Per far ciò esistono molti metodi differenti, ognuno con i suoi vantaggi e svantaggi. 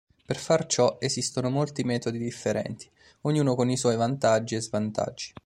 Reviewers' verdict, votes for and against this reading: accepted, 2, 0